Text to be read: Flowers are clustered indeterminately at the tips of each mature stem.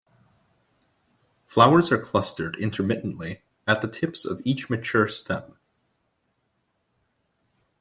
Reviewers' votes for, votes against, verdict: 1, 2, rejected